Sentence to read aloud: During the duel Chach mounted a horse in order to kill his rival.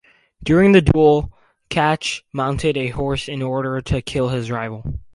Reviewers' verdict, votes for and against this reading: accepted, 2, 0